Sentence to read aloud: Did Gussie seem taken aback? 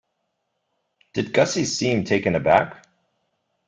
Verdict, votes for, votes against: accepted, 2, 0